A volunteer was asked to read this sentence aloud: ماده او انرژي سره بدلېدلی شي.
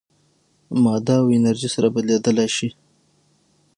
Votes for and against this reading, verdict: 3, 6, rejected